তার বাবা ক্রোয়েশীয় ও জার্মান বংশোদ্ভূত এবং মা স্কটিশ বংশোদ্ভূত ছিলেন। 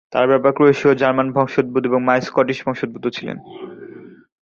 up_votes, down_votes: 0, 2